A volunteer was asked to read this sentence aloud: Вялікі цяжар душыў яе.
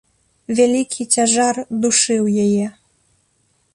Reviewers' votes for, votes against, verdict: 2, 0, accepted